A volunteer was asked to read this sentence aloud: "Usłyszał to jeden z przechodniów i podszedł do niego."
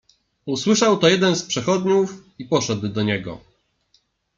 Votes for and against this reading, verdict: 1, 2, rejected